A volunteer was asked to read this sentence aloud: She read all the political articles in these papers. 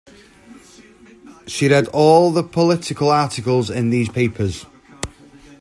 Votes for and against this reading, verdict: 2, 0, accepted